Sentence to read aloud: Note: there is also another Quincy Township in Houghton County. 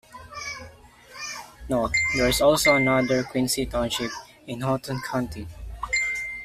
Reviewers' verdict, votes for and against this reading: accepted, 2, 0